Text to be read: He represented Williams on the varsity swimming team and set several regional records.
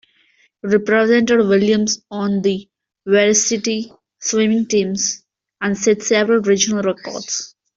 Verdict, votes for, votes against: rejected, 0, 2